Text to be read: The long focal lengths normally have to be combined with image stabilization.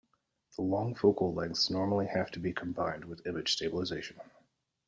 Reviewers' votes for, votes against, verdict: 2, 1, accepted